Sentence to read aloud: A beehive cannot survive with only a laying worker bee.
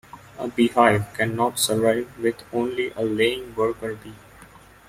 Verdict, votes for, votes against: accepted, 2, 0